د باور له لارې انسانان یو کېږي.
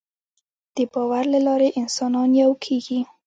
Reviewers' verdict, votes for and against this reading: rejected, 0, 2